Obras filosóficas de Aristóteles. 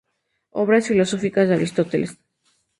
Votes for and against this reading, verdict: 4, 0, accepted